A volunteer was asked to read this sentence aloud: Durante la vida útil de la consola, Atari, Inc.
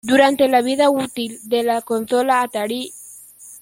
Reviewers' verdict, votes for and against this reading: rejected, 0, 2